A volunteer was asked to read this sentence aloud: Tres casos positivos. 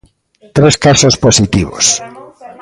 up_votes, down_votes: 1, 2